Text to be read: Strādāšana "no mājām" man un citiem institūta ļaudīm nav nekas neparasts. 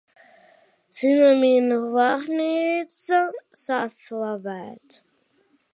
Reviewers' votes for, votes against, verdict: 0, 2, rejected